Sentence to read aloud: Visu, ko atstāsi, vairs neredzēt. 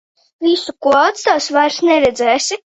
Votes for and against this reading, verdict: 0, 2, rejected